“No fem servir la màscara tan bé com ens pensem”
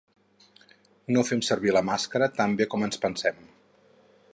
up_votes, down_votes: 4, 0